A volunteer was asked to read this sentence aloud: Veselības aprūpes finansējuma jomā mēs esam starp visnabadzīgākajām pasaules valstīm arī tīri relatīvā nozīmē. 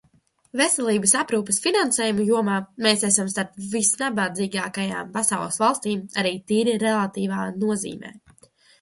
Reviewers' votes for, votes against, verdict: 2, 1, accepted